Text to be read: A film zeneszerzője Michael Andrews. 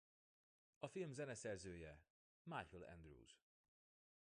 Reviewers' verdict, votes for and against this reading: rejected, 0, 2